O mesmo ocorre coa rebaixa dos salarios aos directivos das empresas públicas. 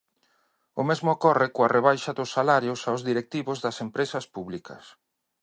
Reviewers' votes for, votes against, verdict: 2, 1, accepted